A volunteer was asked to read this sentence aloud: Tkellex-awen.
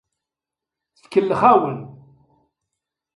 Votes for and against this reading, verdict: 2, 0, accepted